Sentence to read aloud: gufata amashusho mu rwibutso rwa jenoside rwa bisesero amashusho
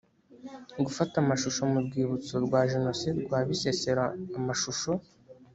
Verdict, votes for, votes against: rejected, 1, 2